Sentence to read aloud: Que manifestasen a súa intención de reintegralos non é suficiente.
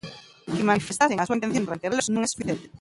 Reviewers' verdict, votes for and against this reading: rejected, 0, 3